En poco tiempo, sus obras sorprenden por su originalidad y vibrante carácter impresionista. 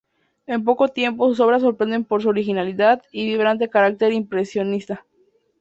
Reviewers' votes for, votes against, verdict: 2, 0, accepted